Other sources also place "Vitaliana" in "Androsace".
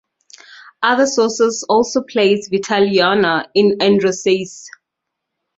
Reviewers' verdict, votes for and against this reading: rejected, 0, 2